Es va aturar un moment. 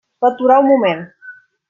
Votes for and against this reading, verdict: 0, 2, rejected